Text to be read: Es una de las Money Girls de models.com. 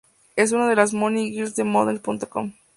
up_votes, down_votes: 2, 0